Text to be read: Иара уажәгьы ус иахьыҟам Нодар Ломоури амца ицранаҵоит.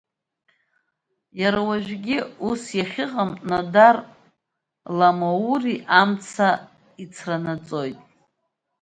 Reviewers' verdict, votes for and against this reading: rejected, 1, 2